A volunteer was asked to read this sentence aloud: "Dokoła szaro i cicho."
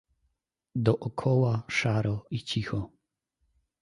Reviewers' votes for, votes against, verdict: 1, 2, rejected